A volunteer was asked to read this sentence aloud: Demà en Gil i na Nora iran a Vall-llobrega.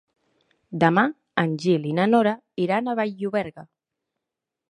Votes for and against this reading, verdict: 1, 2, rejected